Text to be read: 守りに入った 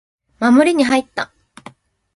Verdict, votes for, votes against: accepted, 5, 0